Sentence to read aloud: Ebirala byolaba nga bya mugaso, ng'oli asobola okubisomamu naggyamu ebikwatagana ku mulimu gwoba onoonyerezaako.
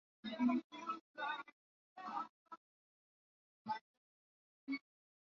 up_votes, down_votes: 0, 2